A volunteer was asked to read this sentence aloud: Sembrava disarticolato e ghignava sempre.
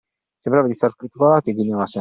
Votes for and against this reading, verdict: 2, 1, accepted